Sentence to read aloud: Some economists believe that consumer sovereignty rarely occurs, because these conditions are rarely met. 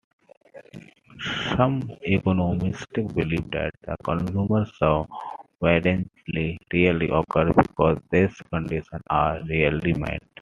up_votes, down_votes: 0, 2